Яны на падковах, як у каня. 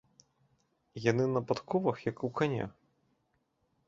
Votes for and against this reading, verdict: 2, 0, accepted